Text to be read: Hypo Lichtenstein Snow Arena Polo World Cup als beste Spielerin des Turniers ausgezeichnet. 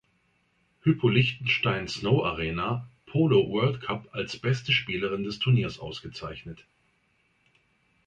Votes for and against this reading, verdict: 2, 0, accepted